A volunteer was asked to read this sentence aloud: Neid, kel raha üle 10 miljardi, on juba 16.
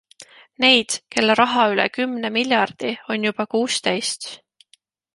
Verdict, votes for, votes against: rejected, 0, 2